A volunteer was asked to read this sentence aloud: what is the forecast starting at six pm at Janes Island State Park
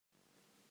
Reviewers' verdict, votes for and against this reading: rejected, 0, 2